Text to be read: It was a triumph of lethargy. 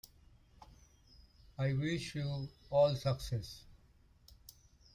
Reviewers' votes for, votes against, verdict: 0, 2, rejected